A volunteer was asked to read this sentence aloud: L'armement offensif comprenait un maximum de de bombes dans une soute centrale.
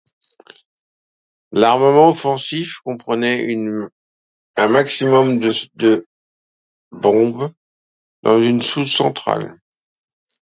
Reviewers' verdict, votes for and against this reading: rejected, 0, 2